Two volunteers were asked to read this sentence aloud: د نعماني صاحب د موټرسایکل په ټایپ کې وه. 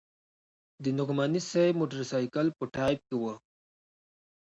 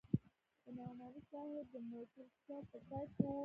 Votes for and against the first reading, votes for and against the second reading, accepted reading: 2, 0, 0, 2, first